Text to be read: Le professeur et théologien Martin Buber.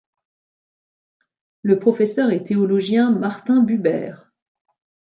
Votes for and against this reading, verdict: 2, 0, accepted